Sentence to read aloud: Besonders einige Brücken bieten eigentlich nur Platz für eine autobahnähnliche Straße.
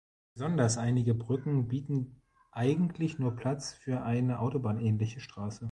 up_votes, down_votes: 2, 0